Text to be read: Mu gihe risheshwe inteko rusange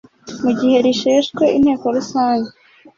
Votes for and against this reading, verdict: 2, 0, accepted